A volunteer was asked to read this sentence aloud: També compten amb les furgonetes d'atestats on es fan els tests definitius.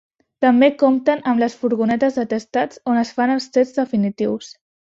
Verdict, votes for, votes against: accepted, 2, 1